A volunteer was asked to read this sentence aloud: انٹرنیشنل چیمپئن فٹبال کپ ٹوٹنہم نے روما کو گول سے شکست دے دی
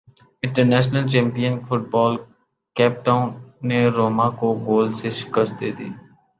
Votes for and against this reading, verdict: 1, 2, rejected